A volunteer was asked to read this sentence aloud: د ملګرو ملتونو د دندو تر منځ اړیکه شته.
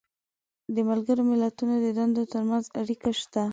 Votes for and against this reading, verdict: 2, 0, accepted